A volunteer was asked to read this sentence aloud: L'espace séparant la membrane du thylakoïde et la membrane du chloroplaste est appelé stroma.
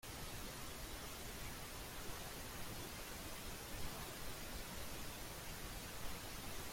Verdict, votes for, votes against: rejected, 0, 2